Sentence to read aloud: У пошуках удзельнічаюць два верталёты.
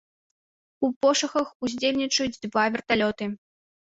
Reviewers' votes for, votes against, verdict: 1, 2, rejected